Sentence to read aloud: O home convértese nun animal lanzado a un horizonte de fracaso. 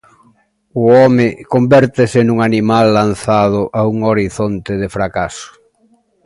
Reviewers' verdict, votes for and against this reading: accepted, 2, 0